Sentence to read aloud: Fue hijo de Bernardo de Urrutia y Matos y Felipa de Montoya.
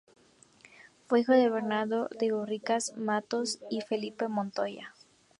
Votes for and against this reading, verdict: 0, 4, rejected